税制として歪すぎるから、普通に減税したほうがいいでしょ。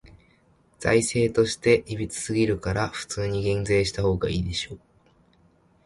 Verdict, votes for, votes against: rejected, 1, 2